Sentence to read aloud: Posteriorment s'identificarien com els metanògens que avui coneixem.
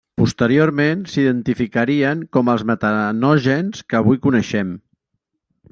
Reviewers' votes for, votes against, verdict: 0, 2, rejected